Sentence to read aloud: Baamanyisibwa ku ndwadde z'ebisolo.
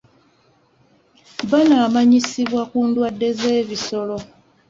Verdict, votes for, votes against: rejected, 0, 2